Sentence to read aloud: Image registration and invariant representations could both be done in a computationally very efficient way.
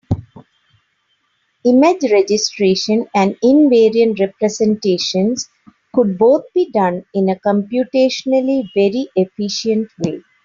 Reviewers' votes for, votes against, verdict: 2, 0, accepted